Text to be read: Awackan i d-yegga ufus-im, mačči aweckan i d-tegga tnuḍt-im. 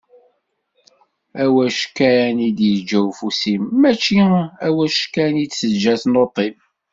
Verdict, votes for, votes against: rejected, 0, 2